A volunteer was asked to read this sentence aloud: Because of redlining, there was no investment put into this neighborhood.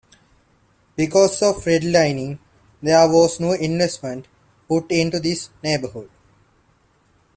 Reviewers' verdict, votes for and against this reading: accepted, 2, 1